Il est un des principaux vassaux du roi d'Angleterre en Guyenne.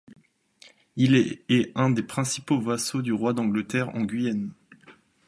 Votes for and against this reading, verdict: 1, 2, rejected